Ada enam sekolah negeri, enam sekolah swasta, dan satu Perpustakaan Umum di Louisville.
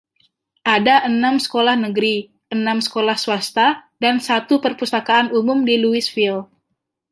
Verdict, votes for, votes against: accepted, 2, 0